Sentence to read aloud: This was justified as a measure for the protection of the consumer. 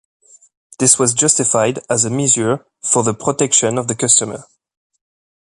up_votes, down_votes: 1, 2